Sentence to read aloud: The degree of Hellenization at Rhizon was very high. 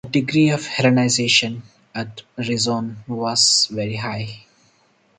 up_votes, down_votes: 0, 2